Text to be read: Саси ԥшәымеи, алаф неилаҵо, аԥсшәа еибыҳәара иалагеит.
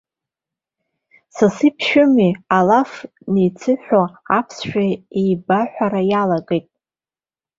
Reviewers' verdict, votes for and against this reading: rejected, 0, 2